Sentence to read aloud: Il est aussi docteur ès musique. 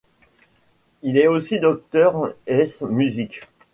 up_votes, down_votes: 2, 1